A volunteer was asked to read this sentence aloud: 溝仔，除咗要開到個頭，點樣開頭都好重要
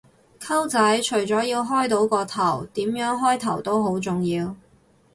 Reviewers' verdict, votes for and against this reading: accepted, 2, 0